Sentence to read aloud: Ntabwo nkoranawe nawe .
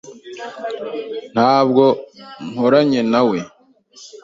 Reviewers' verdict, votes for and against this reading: rejected, 0, 2